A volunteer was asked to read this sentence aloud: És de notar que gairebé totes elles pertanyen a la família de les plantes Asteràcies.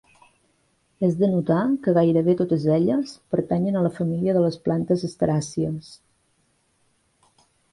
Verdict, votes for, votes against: accepted, 2, 0